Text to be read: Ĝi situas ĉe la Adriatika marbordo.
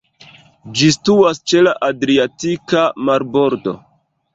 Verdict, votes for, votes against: accepted, 2, 1